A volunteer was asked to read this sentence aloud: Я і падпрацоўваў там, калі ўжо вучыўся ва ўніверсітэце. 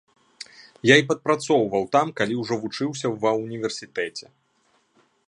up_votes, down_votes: 2, 0